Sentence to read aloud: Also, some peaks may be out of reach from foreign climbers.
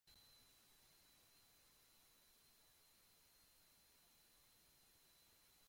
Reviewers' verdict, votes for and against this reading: rejected, 0, 2